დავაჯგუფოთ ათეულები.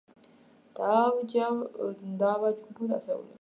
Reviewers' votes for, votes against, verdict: 0, 2, rejected